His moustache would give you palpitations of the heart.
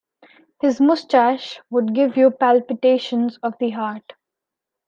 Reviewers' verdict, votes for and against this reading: accepted, 2, 0